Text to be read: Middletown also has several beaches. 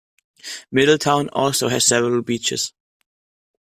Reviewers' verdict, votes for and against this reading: accepted, 2, 0